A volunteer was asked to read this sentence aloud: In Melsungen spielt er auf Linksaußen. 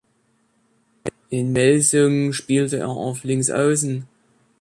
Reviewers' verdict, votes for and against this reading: rejected, 1, 2